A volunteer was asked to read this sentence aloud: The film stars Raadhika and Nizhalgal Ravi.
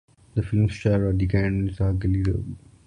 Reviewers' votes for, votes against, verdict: 0, 2, rejected